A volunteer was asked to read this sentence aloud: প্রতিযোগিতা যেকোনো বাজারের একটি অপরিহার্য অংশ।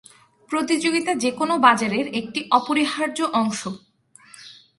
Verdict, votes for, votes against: accepted, 4, 0